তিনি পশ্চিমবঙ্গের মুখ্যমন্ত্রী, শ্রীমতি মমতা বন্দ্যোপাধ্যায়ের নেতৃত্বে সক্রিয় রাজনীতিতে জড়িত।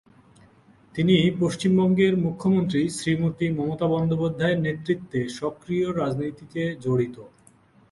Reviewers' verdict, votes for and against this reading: accepted, 4, 0